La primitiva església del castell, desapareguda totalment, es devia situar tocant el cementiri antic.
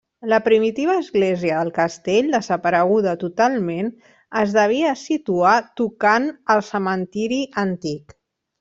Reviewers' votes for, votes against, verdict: 1, 2, rejected